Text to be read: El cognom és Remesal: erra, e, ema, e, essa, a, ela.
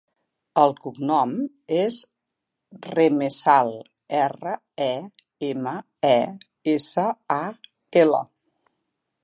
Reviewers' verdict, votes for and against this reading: accepted, 2, 1